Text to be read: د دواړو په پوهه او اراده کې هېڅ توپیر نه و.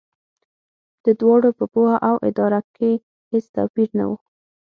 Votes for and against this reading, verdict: 6, 0, accepted